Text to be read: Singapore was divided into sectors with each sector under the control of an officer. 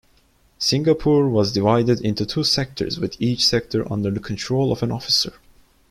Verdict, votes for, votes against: rejected, 1, 2